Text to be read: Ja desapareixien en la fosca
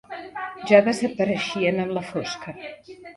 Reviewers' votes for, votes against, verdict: 1, 2, rejected